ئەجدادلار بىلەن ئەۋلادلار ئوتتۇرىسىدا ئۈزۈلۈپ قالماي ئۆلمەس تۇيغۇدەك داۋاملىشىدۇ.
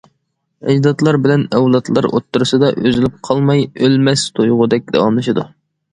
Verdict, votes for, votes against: accepted, 2, 0